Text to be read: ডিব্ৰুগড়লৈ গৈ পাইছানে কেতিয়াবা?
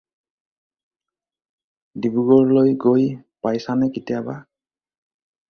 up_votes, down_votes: 4, 0